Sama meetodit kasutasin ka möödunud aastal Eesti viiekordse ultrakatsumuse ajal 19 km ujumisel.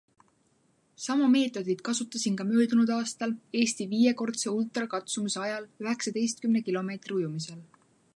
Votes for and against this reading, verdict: 0, 2, rejected